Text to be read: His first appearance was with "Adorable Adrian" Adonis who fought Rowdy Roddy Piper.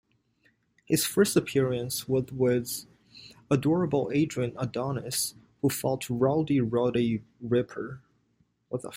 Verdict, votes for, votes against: rejected, 1, 2